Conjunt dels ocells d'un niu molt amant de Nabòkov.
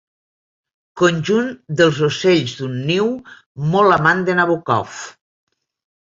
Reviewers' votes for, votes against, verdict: 3, 0, accepted